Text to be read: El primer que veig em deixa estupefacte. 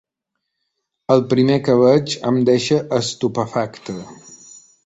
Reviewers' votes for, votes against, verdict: 2, 0, accepted